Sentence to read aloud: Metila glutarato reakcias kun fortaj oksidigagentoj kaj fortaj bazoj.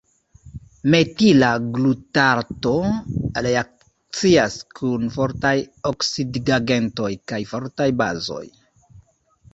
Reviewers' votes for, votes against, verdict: 2, 1, accepted